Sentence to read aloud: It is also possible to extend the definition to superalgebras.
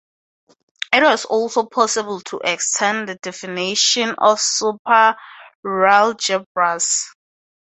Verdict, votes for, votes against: accepted, 2, 0